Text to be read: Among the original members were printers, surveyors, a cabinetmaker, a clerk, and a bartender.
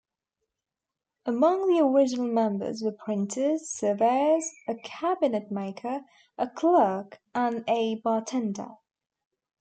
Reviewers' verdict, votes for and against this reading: accepted, 3, 1